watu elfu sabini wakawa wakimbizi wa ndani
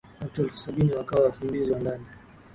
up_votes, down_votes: 14, 2